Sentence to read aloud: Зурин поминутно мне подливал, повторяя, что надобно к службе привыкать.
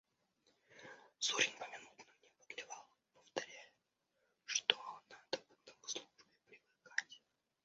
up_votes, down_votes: 2, 0